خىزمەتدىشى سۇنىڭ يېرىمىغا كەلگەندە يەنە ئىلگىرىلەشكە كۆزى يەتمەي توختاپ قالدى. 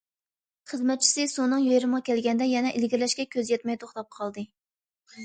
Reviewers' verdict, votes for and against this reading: rejected, 1, 2